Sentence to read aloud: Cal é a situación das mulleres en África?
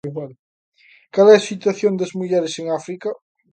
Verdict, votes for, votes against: rejected, 0, 2